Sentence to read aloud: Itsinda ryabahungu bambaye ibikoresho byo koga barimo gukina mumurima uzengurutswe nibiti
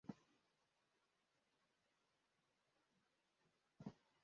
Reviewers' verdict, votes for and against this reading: rejected, 0, 2